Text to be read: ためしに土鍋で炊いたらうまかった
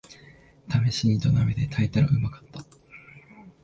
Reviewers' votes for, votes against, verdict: 3, 1, accepted